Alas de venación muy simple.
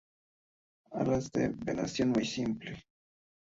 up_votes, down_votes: 2, 0